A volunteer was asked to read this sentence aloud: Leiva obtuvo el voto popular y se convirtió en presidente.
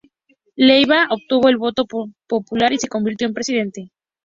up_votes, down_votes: 2, 0